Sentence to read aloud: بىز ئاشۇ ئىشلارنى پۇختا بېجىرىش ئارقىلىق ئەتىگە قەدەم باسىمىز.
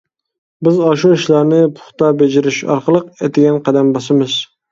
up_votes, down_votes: 2, 0